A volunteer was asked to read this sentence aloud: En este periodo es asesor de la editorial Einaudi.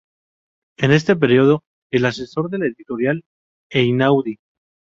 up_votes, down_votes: 0, 2